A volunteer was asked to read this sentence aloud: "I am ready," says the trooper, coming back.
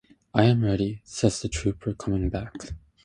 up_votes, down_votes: 0, 2